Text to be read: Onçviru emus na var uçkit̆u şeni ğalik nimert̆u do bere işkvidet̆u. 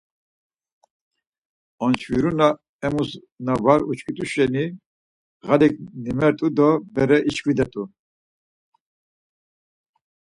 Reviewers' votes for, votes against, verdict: 2, 4, rejected